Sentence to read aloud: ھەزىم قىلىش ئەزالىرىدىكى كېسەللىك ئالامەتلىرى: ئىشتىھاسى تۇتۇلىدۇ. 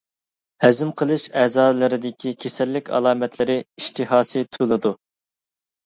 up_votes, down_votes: 1, 2